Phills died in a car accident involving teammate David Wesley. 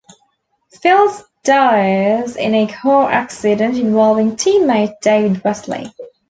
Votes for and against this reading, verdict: 0, 2, rejected